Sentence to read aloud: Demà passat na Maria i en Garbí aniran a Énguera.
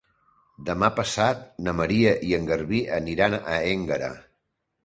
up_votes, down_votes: 2, 0